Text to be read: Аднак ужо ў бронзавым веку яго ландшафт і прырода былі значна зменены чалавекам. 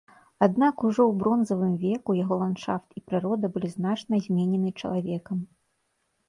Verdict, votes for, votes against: rejected, 1, 2